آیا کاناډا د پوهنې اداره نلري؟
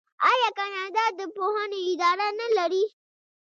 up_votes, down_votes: 1, 2